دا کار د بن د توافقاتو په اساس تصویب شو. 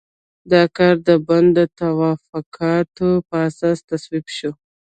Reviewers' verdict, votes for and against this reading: accepted, 2, 0